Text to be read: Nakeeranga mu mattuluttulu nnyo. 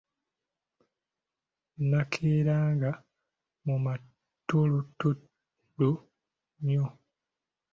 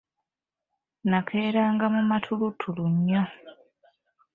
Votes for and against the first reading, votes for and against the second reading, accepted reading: 1, 2, 2, 0, second